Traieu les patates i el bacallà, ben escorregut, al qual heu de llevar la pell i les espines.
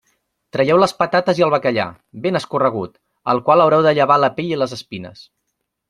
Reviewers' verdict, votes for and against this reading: rejected, 1, 2